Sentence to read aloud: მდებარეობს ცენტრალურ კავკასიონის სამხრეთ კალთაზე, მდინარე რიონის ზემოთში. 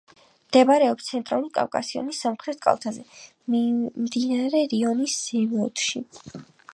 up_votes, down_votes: 3, 1